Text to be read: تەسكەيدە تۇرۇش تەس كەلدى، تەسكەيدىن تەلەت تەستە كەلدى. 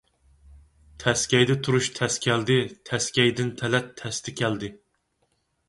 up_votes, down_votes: 4, 0